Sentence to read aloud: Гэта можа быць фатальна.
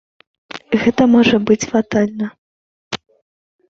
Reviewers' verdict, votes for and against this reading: accepted, 2, 0